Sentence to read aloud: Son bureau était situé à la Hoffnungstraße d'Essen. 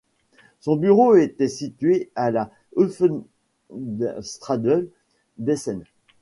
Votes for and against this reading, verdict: 0, 2, rejected